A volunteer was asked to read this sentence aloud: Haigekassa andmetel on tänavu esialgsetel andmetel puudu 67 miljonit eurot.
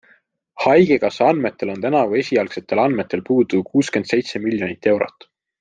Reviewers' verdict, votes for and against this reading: rejected, 0, 2